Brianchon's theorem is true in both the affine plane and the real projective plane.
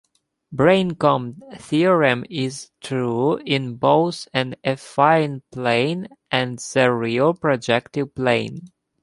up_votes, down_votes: 0, 2